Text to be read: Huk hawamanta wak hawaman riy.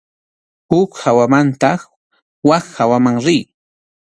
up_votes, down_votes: 2, 0